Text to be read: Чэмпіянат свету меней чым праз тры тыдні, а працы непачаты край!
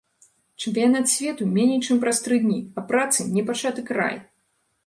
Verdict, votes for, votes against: rejected, 0, 2